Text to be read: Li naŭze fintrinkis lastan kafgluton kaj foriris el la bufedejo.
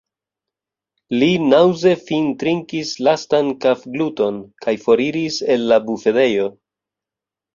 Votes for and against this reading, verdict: 3, 0, accepted